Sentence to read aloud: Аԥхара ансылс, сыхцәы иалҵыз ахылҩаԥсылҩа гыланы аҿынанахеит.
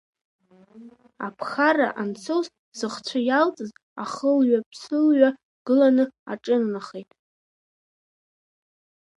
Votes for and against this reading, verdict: 0, 2, rejected